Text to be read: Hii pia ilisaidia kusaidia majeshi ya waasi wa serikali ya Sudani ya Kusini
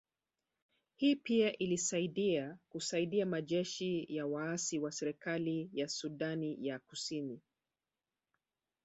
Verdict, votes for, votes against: rejected, 0, 2